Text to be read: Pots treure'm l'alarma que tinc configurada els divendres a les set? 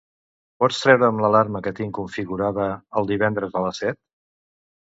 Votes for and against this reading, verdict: 0, 2, rejected